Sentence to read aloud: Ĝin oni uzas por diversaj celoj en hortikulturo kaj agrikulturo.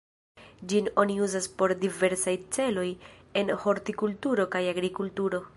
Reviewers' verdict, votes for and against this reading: accepted, 2, 0